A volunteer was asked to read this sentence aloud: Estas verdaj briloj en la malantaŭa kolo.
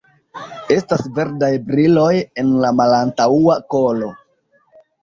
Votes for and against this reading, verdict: 1, 2, rejected